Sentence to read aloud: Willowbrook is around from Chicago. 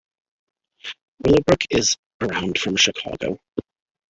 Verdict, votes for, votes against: rejected, 0, 3